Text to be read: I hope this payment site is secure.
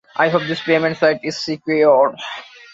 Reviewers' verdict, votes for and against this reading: accepted, 2, 0